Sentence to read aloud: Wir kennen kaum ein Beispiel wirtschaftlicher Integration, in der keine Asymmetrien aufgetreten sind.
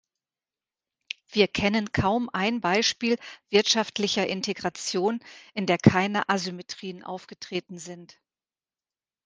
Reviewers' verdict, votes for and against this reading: accepted, 2, 1